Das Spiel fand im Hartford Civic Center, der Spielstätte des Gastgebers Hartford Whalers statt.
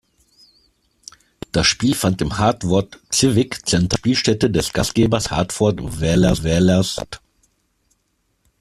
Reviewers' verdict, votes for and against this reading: rejected, 0, 2